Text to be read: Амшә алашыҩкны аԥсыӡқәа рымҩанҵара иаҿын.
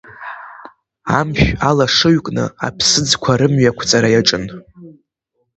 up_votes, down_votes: 0, 3